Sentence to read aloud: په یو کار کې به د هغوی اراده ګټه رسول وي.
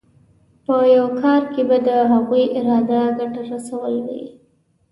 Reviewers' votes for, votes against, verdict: 2, 0, accepted